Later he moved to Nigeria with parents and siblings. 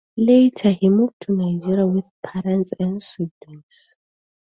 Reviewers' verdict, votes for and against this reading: accepted, 2, 0